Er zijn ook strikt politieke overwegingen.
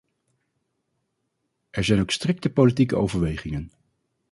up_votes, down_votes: 2, 2